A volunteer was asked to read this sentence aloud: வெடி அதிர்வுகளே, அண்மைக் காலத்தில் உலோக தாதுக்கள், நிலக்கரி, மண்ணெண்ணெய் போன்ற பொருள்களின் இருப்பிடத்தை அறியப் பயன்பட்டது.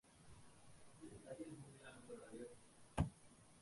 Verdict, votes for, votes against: rejected, 0, 2